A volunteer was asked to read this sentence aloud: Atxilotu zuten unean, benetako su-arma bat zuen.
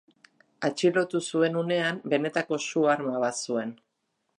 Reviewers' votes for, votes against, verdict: 0, 2, rejected